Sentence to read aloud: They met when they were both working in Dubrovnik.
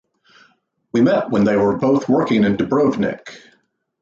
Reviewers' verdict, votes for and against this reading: rejected, 0, 2